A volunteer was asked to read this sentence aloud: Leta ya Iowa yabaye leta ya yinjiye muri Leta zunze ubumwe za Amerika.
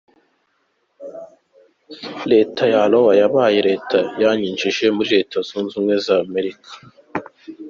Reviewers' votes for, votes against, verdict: 1, 2, rejected